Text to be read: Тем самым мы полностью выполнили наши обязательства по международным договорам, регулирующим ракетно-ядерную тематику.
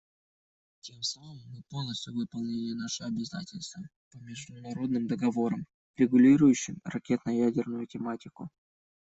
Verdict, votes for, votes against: rejected, 0, 2